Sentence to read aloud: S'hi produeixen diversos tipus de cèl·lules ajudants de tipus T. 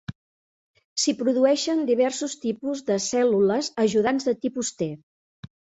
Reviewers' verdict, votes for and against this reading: accepted, 3, 0